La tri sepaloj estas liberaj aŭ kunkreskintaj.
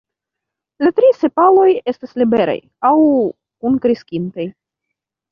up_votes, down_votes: 2, 1